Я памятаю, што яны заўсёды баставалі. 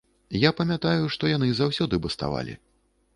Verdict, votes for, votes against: accepted, 2, 1